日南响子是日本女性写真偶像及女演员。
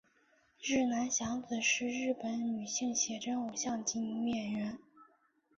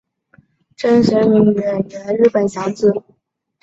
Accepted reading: first